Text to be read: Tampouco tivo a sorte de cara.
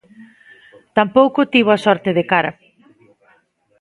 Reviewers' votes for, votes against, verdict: 2, 0, accepted